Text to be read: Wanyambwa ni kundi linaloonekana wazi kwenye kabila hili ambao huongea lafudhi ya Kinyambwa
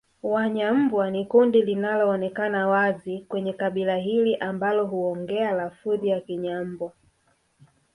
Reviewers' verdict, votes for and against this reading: rejected, 0, 2